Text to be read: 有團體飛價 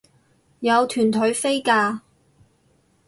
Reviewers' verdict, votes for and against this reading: rejected, 2, 2